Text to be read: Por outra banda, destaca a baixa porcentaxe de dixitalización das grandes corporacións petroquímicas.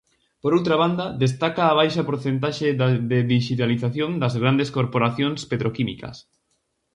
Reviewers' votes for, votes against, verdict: 0, 4, rejected